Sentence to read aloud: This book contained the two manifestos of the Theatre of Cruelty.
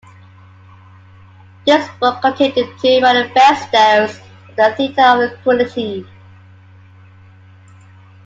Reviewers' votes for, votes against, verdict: 1, 2, rejected